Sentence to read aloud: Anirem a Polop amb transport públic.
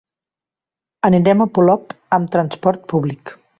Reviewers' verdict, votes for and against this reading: accepted, 3, 0